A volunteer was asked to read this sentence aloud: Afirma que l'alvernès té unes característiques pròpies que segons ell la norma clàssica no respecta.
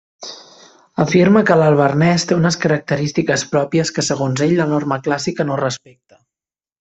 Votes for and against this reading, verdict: 3, 0, accepted